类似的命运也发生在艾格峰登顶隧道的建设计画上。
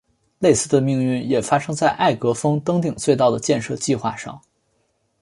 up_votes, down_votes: 5, 1